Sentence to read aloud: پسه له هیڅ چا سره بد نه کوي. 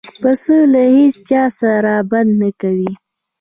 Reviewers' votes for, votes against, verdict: 2, 0, accepted